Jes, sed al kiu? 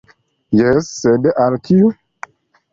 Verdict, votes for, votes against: accepted, 2, 0